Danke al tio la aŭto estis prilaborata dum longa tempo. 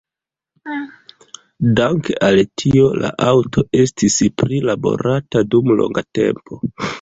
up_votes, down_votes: 0, 2